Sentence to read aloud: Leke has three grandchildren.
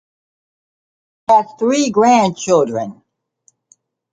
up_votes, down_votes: 0, 2